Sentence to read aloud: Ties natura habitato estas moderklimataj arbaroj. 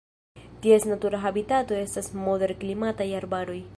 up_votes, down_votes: 2, 0